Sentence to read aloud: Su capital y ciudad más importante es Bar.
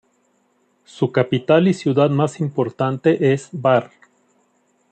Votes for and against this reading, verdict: 2, 0, accepted